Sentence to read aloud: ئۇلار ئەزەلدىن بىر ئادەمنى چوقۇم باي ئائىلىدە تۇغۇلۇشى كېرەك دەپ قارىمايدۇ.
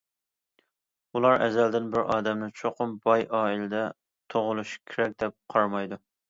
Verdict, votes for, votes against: accepted, 2, 0